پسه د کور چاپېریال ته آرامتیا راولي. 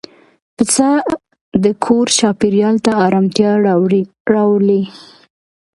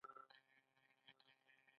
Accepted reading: first